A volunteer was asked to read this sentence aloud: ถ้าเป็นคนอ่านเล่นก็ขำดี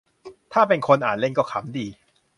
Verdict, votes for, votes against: accepted, 4, 0